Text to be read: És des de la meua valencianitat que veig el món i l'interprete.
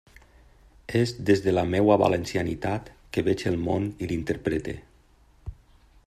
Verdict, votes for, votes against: accepted, 2, 0